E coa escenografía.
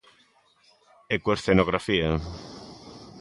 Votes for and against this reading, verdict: 2, 0, accepted